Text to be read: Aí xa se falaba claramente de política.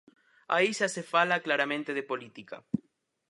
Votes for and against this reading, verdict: 0, 4, rejected